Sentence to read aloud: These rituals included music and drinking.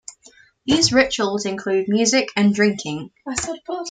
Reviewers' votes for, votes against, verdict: 1, 2, rejected